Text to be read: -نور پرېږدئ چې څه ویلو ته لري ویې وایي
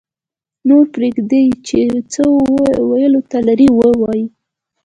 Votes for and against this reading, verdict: 2, 1, accepted